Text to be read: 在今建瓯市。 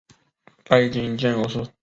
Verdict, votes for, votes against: rejected, 0, 2